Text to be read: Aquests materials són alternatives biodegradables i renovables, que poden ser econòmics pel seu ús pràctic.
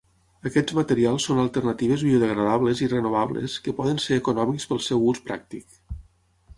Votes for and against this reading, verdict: 6, 0, accepted